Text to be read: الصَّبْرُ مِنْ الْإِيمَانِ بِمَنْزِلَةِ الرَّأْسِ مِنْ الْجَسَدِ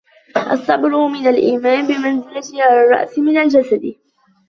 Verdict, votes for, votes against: rejected, 1, 2